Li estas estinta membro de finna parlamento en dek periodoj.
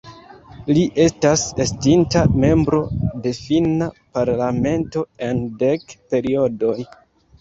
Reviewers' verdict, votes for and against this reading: accepted, 2, 0